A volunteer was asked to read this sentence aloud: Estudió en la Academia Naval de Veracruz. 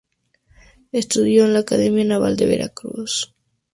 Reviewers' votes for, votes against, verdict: 2, 0, accepted